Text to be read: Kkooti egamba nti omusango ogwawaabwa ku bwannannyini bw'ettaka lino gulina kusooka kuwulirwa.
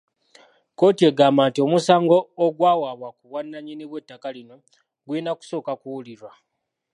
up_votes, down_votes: 2, 1